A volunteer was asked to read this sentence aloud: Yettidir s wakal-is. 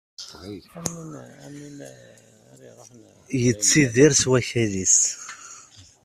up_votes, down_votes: 0, 2